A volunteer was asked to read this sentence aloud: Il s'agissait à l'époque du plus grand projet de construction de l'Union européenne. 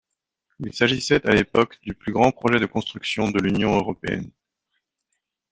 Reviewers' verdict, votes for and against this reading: accepted, 2, 0